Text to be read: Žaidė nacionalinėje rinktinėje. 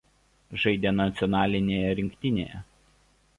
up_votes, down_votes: 2, 0